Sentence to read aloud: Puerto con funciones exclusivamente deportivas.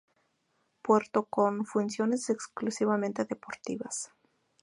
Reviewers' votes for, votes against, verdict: 2, 0, accepted